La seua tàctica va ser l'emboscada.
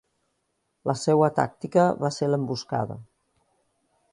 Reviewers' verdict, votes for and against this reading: accepted, 2, 0